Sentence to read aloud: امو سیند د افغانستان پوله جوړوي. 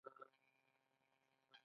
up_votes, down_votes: 0, 2